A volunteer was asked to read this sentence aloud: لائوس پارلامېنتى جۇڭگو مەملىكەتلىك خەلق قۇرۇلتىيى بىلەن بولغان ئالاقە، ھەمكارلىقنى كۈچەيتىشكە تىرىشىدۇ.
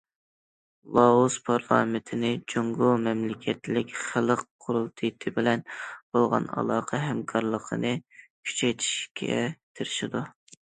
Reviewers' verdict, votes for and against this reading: rejected, 0, 2